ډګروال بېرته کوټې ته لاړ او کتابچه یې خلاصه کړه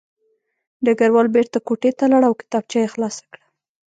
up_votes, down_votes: 1, 2